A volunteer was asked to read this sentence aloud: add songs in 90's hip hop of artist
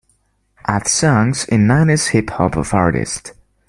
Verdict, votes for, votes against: rejected, 0, 2